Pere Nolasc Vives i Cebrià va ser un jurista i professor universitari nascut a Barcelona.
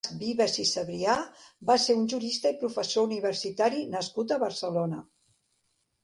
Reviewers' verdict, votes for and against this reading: rejected, 0, 2